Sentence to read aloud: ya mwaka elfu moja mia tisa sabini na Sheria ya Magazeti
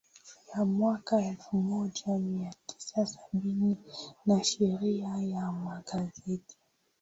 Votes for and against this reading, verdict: 7, 1, accepted